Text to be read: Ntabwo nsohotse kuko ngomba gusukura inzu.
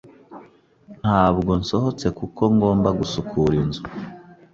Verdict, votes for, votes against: accepted, 3, 0